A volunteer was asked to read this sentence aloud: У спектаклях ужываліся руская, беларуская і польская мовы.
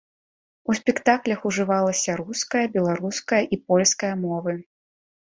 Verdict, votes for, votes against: rejected, 0, 2